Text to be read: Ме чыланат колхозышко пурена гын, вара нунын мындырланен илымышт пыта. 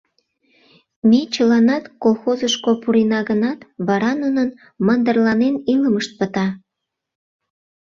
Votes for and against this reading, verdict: 0, 2, rejected